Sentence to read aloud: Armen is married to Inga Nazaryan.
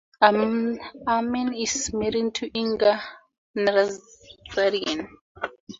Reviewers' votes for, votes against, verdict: 0, 2, rejected